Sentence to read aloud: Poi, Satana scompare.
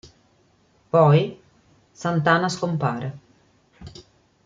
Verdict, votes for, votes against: rejected, 0, 2